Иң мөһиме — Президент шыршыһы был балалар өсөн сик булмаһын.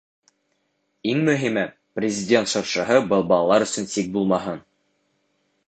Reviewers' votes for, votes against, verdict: 2, 0, accepted